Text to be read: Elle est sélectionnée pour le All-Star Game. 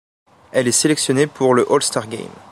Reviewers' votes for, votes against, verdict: 2, 0, accepted